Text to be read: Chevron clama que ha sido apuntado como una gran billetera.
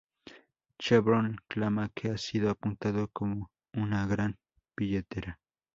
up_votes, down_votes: 0, 2